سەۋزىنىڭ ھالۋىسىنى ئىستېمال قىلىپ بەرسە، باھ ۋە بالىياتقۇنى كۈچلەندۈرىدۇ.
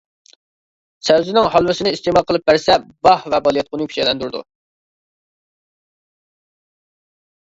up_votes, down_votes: 0, 2